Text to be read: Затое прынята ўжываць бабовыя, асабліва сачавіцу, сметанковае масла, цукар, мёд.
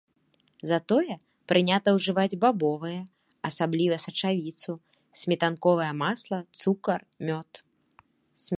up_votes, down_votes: 0, 2